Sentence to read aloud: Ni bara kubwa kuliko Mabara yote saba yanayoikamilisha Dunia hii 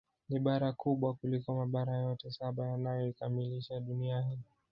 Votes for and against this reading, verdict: 0, 2, rejected